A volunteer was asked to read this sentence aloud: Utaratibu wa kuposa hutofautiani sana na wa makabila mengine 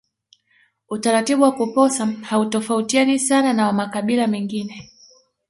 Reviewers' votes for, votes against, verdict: 1, 2, rejected